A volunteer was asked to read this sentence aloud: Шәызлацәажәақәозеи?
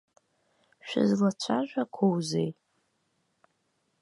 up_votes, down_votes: 1, 2